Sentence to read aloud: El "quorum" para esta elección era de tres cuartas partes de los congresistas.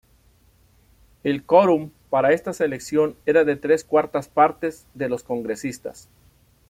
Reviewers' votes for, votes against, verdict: 1, 2, rejected